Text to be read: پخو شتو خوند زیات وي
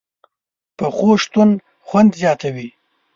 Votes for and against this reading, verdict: 1, 2, rejected